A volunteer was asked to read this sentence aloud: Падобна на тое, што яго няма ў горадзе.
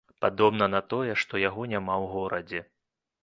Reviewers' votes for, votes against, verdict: 3, 0, accepted